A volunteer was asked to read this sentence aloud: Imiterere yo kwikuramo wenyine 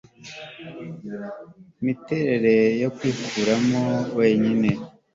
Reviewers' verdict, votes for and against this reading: accepted, 2, 0